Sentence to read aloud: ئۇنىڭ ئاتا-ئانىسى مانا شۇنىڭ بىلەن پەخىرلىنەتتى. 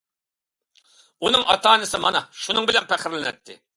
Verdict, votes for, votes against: accepted, 2, 0